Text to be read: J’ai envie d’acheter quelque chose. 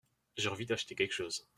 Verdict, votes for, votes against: accepted, 2, 0